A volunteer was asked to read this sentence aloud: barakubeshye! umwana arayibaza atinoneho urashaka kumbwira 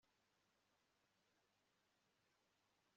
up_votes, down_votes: 1, 2